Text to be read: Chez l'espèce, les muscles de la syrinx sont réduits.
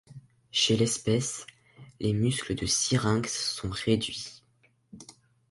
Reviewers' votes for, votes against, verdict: 0, 3, rejected